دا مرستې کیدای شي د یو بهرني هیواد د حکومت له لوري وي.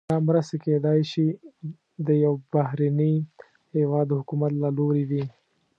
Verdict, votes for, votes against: accepted, 2, 0